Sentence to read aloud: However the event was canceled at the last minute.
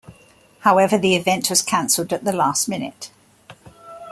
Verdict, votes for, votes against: accepted, 2, 0